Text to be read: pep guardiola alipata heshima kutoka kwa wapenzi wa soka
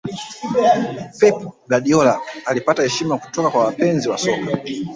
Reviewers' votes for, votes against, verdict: 0, 2, rejected